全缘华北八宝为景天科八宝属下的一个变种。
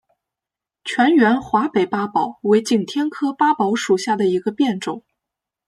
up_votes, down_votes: 2, 1